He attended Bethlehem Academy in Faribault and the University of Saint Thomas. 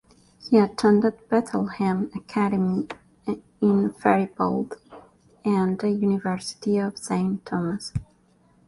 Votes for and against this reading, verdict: 0, 2, rejected